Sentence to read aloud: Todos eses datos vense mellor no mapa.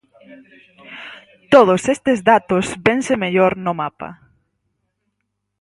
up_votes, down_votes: 0, 4